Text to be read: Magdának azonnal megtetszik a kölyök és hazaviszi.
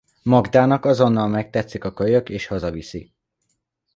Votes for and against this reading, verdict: 2, 0, accepted